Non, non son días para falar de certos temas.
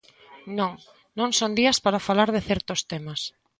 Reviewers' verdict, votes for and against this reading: accepted, 2, 0